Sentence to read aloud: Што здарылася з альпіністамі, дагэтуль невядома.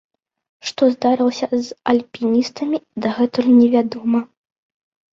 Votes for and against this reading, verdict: 2, 0, accepted